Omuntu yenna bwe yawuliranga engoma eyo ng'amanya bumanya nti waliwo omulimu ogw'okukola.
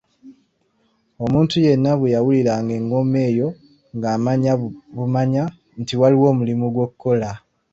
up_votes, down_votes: 2, 0